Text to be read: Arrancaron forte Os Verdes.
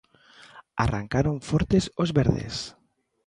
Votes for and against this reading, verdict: 0, 2, rejected